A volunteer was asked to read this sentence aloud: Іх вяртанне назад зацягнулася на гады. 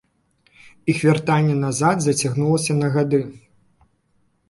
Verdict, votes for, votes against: accepted, 2, 0